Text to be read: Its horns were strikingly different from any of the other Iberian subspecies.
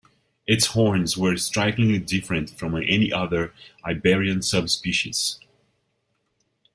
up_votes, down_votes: 0, 2